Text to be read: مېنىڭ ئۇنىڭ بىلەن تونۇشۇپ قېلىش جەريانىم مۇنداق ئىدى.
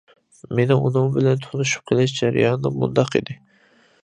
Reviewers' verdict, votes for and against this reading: accepted, 2, 0